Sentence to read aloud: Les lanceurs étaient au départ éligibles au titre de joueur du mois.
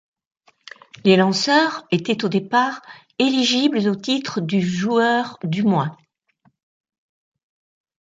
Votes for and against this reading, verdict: 0, 2, rejected